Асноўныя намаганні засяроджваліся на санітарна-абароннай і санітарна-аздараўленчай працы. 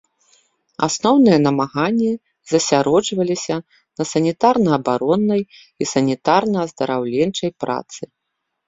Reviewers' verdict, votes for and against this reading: accepted, 2, 0